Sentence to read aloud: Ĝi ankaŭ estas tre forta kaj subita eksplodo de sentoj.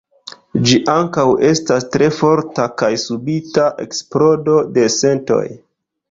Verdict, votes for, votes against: rejected, 1, 2